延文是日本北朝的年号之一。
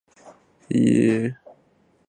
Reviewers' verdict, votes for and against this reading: rejected, 0, 2